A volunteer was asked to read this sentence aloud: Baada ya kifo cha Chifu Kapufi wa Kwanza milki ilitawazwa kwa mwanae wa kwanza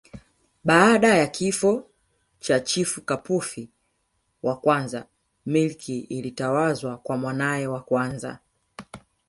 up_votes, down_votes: 1, 2